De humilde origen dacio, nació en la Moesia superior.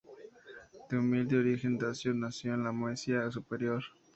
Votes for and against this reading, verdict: 2, 0, accepted